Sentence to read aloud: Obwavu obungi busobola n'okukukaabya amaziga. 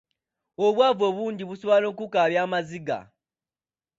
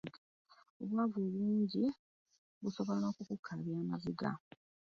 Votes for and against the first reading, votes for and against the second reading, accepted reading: 2, 0, 0, 2, first